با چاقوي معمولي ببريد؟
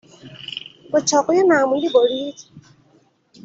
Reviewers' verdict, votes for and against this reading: rejected, 0, 2